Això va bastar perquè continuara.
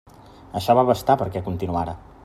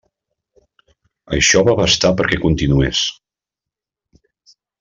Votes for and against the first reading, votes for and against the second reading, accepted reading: 3, 0, 0, 2, first